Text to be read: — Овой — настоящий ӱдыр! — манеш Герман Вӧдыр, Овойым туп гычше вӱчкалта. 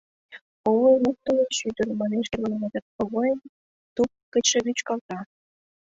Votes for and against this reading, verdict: 1, 2, rejected